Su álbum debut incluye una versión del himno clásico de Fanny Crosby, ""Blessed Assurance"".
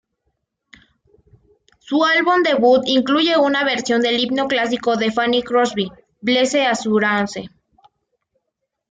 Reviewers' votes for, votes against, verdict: 1, 2, rejected